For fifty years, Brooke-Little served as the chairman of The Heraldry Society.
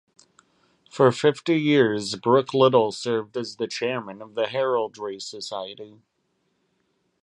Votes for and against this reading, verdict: 2, 0, accepted